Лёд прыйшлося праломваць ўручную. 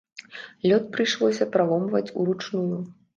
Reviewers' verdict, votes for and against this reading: accepted, 2, 0